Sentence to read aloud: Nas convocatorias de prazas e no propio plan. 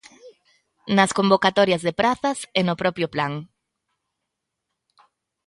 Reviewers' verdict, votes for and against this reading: accepted, 2, 0